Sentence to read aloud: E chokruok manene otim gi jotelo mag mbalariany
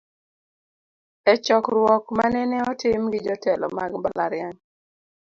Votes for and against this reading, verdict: 2, 0, accepted